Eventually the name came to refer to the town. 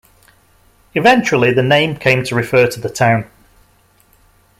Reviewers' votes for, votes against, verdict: 2, 0, accepted